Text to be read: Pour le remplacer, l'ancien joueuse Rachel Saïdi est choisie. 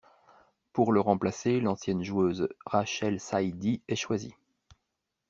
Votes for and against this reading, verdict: 1, 2, rejected